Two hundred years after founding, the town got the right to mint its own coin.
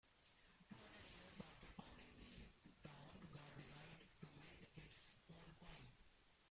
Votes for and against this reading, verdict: 0, 2, rejected